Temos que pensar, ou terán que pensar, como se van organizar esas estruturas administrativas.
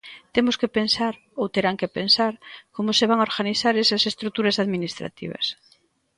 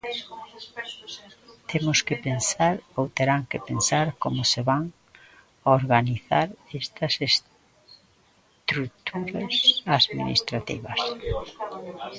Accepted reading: first